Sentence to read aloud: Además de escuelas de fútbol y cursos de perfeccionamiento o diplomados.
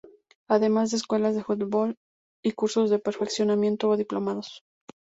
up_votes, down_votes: 2, 0